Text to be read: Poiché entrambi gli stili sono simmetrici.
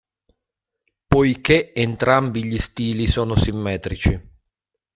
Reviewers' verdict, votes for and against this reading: accepted, 2, 0